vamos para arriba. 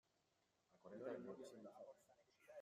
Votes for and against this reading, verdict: 0, 2, rejected